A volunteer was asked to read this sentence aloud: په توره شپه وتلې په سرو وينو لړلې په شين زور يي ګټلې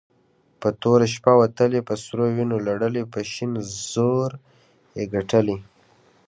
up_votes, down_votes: 1, 2